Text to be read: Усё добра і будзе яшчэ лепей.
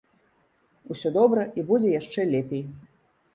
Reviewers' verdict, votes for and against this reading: accepted, 2, 0